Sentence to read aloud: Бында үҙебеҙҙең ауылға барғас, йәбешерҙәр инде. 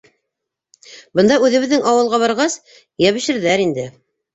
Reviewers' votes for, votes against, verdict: 2, 0, accepted